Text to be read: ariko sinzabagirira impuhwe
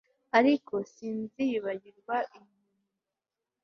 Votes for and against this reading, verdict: 2, 0, accepted